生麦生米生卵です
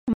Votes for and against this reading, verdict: 0, 2, rejected